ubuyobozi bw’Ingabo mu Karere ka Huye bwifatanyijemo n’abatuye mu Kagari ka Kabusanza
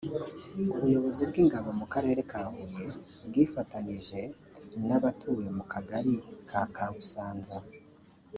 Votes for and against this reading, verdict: 1, 2, rejected